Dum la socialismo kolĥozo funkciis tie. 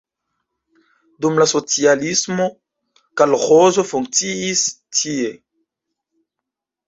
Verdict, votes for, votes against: rejected, 0, 2